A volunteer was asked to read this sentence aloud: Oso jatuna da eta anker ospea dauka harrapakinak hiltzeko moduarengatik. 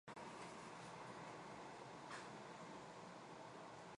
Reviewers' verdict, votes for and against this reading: rejected, 0, 2